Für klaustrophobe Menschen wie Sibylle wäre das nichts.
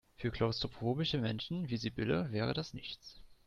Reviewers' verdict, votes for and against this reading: rejected, 0, 2